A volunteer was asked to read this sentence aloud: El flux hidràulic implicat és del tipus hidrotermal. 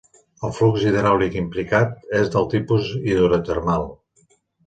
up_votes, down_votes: 2, 0